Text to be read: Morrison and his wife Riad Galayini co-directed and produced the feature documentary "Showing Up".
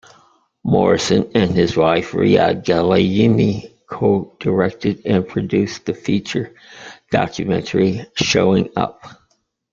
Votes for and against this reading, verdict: 2, 0, accepted